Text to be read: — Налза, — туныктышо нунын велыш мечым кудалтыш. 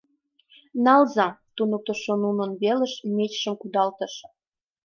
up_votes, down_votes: 1, 2